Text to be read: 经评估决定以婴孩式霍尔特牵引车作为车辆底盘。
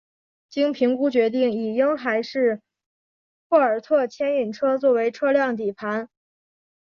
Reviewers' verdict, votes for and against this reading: accepted, 2, 0